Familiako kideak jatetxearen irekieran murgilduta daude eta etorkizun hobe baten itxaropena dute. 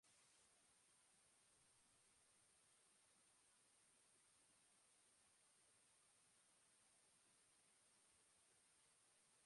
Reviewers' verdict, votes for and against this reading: rejected, 0, 3